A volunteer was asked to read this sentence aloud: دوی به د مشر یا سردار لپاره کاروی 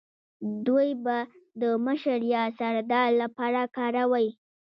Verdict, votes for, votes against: accepted, 4, 3